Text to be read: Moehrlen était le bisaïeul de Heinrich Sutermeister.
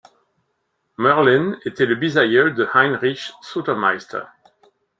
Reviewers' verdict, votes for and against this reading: accepted, 2, 0